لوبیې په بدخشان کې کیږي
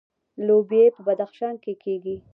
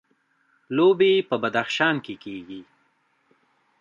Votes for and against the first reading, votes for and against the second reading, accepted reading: 2, 0, 1, 2, first